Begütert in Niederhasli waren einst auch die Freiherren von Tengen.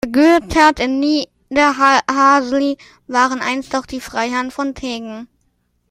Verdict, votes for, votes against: rejected, 0, 2